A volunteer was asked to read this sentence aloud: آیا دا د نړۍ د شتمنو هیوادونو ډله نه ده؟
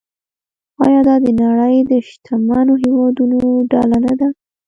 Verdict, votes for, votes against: accepted, 2, 1